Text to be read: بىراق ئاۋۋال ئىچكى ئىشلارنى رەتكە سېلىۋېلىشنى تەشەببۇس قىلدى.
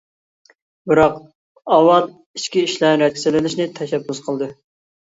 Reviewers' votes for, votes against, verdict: 1, 2, rejected